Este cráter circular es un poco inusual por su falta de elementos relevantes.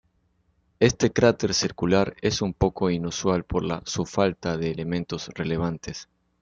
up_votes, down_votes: 0, 2